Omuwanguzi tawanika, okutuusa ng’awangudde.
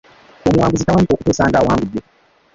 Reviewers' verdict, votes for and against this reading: rejected, 0, 2